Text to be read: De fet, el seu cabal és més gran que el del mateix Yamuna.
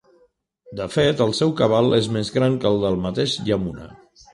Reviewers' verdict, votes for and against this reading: accepted, 3, 0